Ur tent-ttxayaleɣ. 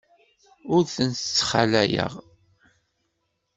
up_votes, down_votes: 1, 2